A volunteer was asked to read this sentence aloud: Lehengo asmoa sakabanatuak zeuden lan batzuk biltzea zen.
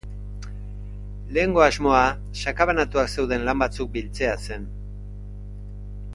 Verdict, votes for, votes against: accepted, 2, 0